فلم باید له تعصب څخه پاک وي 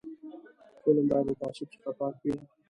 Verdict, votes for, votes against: rejected, 0, 2